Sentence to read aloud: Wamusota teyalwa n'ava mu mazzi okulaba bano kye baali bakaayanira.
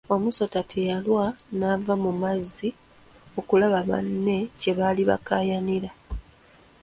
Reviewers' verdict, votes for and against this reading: rejected, 0, 2